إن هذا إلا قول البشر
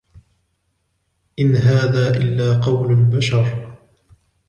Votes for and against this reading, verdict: 2, 0, accepted